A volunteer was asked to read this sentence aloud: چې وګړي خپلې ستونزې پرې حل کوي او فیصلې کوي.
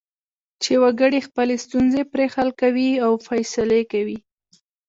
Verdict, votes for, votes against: accepted, 3, 0